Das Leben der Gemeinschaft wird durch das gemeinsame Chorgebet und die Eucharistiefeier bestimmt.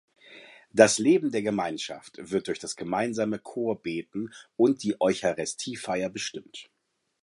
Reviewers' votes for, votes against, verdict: 1, 2, rejected